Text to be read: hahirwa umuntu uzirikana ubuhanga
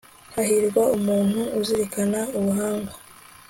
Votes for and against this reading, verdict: 2, 0, accepted